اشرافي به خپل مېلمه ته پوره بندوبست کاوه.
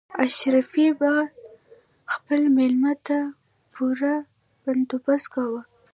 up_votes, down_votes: 2, 0